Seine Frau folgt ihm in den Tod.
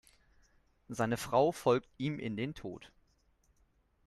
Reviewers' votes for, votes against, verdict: 2, 0, accepted